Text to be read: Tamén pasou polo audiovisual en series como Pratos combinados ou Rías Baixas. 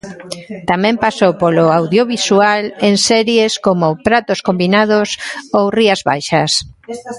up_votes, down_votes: 2, 0